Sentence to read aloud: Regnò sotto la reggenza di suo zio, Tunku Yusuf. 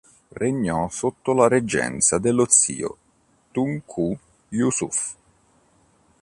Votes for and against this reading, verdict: 3, 4, rejected